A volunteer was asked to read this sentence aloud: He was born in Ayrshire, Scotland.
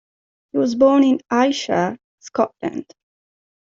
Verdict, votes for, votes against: accepted, 2, 1